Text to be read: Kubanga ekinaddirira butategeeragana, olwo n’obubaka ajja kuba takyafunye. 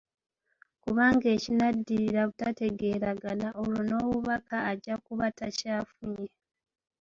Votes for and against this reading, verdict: 1, 2, rejected